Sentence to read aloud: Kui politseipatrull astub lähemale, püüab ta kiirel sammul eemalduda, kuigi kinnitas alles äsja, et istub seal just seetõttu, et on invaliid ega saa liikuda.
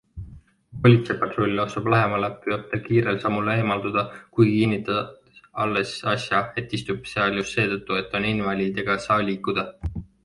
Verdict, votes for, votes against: rejected, 0, 2